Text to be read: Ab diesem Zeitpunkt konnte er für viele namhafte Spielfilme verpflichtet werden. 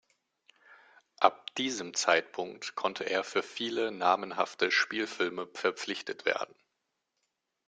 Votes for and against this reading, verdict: 0, 2, rejected